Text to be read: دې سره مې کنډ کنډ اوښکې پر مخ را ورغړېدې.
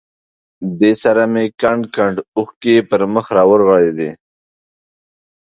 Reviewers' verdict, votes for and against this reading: accepted, 2, 0